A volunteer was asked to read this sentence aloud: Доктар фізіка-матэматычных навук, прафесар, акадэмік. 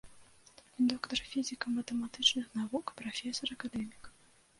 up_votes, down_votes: 2, 1